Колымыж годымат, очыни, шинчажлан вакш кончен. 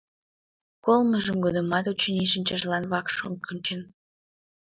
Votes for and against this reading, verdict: 1, 2, rejected